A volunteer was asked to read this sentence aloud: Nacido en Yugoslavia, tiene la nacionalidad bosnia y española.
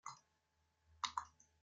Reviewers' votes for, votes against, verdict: 0, 2, rejected